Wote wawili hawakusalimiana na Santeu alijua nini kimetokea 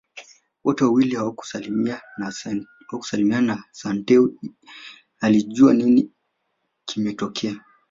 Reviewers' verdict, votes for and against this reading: rejected, 0, 3